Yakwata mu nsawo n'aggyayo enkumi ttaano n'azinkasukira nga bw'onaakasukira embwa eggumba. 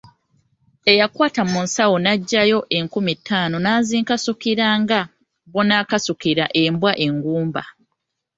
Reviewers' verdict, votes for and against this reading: rejected, 1, 2